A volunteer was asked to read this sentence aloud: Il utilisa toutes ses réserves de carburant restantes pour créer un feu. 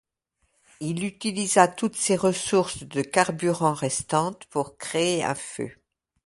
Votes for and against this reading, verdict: 0, 2, rejected